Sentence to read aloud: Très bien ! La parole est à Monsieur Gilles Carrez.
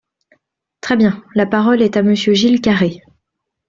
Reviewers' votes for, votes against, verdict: 2, 0, accepted